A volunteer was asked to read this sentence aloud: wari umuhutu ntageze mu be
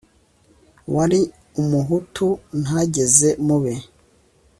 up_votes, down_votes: 2, 0